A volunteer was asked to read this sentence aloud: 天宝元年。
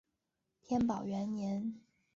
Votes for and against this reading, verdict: 2, 0, accepted